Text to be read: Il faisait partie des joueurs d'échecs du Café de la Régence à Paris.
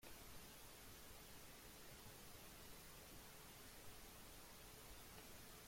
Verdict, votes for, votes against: rejected, 0, 2